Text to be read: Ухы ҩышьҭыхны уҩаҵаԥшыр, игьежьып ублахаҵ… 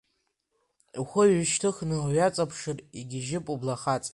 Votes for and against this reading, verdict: 0, 2, rejected